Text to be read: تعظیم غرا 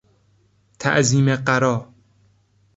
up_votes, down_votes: 0, 2